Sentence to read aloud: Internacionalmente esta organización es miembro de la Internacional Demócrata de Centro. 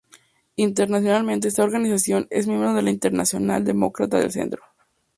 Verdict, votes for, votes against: rejected, 0, 2